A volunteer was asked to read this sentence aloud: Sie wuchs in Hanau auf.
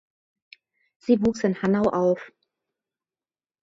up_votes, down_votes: 2, 1